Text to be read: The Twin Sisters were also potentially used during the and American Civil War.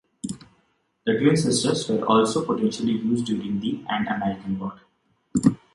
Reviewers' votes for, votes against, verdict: 1, 2, rejected